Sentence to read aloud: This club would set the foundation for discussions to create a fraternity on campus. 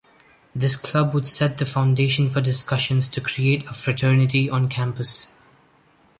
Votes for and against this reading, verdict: 2, 0, accepted